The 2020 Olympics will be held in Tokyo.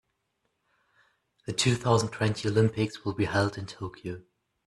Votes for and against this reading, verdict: 0, 2, rejected